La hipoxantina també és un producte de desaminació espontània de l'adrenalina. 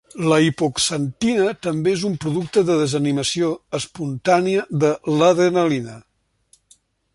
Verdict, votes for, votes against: accepted, 2, 0